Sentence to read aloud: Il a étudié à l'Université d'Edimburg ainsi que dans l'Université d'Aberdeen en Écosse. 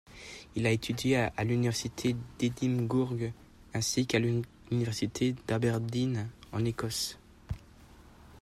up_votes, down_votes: 1, 2